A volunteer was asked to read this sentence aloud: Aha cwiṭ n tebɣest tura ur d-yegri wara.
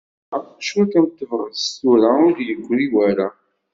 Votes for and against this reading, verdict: 0, 2, rejected